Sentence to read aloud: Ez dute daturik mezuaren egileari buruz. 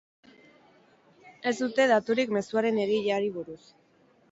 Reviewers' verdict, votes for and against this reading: accepted, 8, 2